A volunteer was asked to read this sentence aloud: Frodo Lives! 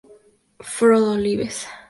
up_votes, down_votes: 0, 2